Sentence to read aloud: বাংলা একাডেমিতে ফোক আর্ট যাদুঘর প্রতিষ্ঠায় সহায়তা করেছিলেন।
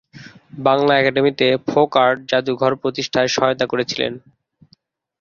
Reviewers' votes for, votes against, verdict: 1, 2, rejected